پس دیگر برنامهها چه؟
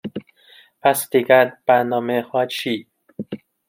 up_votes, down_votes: 1, 2